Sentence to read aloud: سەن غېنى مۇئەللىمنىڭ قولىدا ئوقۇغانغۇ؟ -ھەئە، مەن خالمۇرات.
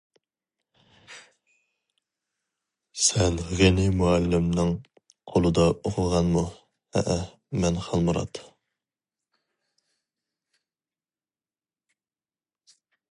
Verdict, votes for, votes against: rejected, 2, 2